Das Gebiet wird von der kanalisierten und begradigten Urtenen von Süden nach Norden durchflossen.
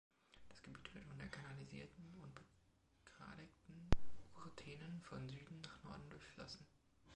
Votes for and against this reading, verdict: 2, 1, accepted